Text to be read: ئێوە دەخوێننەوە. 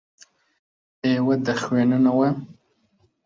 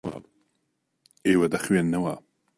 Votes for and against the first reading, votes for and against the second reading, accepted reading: 0, 3, 2, 0, second